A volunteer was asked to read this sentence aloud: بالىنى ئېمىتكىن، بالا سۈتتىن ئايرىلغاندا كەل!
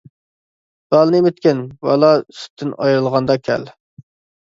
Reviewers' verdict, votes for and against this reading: accepted, 2, 0